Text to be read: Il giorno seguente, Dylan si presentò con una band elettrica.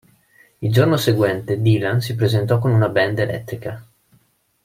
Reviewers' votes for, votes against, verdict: 2, 0, accepted